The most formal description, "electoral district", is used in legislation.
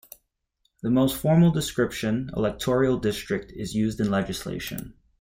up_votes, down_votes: 1, 2